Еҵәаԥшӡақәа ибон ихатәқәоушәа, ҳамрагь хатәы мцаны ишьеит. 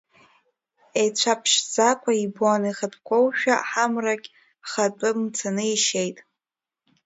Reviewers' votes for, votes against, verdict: 2, 1, accepted